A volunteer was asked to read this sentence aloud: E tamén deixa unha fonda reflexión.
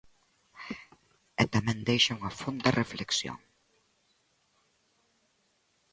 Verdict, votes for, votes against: accepted, 2, 0